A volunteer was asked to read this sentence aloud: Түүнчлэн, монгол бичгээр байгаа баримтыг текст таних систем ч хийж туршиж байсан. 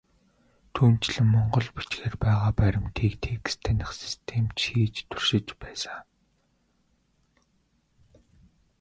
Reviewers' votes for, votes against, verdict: 2, 0, accepted